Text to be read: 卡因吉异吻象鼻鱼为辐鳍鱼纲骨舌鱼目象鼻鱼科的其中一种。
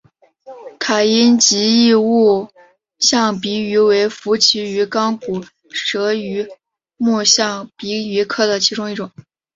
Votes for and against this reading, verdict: 3, 0, accepted